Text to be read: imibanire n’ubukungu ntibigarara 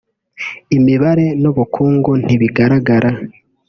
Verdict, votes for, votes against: rejected, 0, 2